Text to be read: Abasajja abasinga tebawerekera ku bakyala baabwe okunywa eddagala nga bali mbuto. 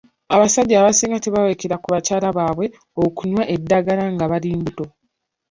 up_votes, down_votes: 2, 1